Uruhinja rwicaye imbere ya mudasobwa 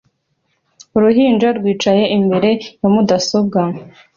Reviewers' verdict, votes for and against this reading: accepted, 2, 0